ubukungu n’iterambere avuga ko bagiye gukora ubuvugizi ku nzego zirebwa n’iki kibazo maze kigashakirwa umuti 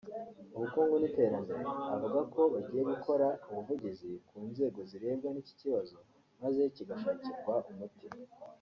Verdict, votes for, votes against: rejected, 1, 2